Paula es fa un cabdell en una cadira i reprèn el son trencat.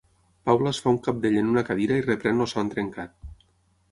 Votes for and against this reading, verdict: 3, 6, rejected